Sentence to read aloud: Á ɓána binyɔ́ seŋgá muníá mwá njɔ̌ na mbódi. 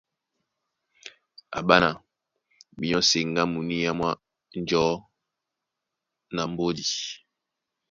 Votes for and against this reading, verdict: 2, 0, accepted